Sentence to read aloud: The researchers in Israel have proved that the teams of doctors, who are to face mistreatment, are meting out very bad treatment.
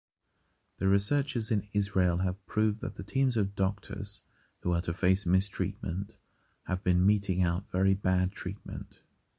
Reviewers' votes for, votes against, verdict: 0, 2, rejected